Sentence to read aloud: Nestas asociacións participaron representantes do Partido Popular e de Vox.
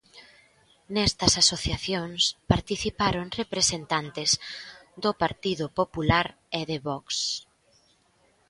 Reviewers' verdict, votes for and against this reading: accepted, 2, 0